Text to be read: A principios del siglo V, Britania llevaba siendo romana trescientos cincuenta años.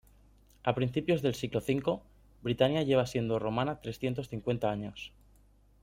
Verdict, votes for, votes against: rejected, 1, 2